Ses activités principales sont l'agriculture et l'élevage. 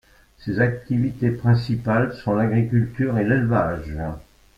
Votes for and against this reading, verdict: 2, 1, accepted